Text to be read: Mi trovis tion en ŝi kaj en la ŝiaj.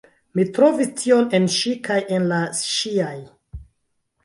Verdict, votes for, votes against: accepted, 3, 2